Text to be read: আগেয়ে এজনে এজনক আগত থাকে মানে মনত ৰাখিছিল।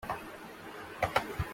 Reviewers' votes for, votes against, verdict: 0, 2, rejected